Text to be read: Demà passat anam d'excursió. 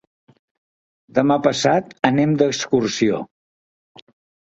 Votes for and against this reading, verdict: 1, 2, rejected